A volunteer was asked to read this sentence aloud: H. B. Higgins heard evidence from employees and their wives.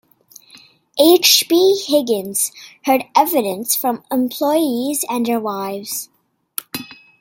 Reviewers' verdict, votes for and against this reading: accepted, 2, 0